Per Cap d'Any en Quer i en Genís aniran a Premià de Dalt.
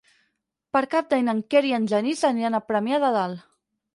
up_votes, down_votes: 8, 0